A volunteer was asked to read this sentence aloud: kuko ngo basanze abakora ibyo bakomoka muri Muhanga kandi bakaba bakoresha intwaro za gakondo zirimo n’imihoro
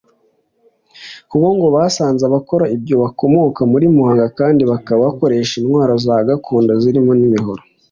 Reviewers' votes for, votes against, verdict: 2, 1, accepted